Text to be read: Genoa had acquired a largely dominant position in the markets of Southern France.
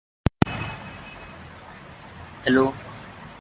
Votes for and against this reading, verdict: 0, 2, rejected